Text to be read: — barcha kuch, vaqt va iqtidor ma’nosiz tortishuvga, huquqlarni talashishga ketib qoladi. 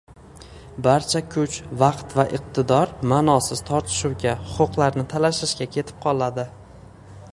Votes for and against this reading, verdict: 0, 2, rejected